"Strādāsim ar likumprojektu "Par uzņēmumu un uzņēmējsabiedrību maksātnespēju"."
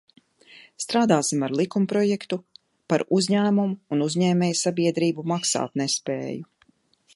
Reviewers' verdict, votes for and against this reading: accepted, 2, 0